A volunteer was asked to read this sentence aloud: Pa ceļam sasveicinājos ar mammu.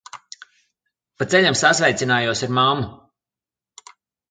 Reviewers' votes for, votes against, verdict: 2, 0, accepted